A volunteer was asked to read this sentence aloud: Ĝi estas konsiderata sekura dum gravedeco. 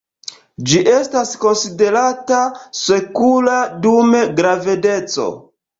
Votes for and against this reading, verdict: 2, 0, accepted